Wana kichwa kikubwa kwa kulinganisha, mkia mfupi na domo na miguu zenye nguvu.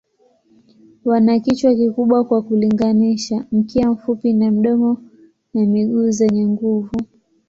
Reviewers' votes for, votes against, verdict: 1, 2, rejected